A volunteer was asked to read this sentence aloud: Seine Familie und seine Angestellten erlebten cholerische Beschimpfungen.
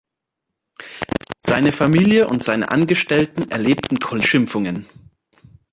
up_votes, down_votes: 0, 3